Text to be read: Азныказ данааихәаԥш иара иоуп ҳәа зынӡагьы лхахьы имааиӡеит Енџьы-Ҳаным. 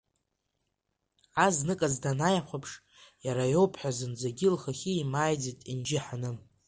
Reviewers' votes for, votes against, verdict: 2, 1, accepted